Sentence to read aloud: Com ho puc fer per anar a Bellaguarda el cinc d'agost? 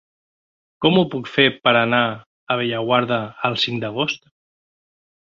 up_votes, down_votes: 4, 0